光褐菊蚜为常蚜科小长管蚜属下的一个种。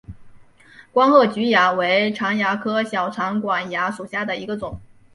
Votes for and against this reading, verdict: 3, 0, accepted